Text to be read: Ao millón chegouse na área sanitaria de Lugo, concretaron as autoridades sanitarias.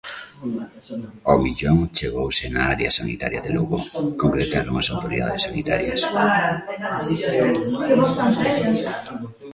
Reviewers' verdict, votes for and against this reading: accepted, 2, 0